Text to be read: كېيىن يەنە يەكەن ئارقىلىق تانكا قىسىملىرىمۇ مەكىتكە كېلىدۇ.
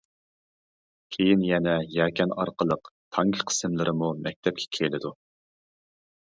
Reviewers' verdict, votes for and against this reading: rejected, 0, 2